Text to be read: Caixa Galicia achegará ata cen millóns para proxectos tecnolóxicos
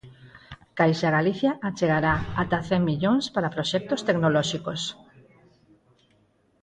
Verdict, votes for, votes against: accepted, 4, 0